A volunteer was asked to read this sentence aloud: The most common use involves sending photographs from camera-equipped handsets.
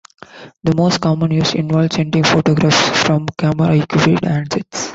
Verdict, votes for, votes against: rejected, 0, 2